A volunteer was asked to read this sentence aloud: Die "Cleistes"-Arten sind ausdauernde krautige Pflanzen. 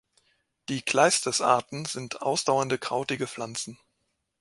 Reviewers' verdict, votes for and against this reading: accepted, 2, 0